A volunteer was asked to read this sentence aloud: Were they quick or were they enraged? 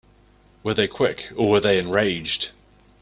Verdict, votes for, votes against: accepted, 2, 0